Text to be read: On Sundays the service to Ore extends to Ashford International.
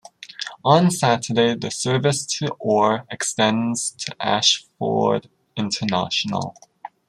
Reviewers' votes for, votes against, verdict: 0, 2, rejected